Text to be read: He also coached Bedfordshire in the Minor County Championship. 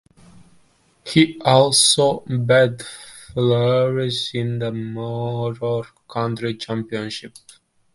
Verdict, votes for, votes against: rejected, 0, 2